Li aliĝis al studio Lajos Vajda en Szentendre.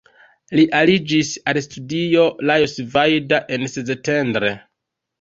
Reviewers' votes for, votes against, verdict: 2, 0, accepted